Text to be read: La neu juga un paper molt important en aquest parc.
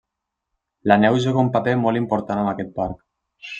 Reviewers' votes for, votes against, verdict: 2, 0, accepted